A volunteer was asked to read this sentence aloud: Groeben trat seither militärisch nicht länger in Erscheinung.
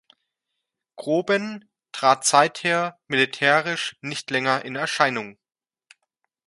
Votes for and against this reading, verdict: 0, 2, rejected